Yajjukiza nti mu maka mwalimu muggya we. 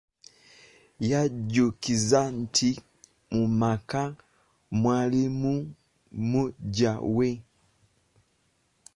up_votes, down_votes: 1, 2